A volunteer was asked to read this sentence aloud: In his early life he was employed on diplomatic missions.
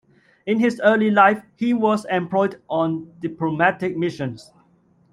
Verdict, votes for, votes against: accepted, 2, 0